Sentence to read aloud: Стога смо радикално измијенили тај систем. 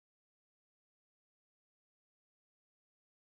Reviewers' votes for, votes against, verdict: 0, 2, rejected